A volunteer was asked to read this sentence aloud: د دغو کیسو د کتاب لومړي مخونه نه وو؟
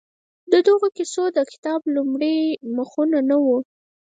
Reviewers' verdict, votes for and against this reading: rejected, 2, 4